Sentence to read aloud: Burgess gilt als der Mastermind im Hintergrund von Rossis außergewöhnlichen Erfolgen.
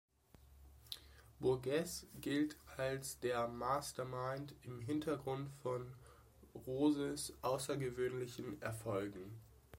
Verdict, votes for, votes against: rejected, 0, 2